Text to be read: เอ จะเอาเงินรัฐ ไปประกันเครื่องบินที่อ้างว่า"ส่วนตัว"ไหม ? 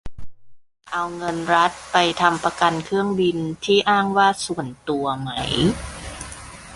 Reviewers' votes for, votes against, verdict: 0, 2, rejected